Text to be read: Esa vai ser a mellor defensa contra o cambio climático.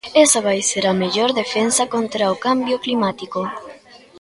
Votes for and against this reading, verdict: 2, 0, accepted